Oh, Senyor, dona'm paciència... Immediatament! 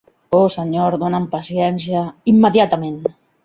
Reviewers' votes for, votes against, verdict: 4, 0, accepted